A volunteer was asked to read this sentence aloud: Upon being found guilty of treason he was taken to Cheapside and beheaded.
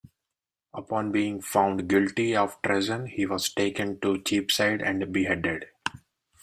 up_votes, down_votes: 0, 2